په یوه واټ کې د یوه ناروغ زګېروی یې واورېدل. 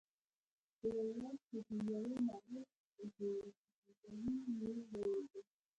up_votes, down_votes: 2, 1